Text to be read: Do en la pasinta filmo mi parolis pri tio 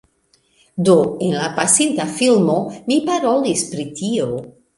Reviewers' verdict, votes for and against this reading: accepted, 2, 0